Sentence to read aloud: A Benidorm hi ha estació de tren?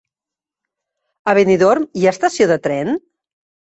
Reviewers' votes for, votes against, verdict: 3, 0, accepted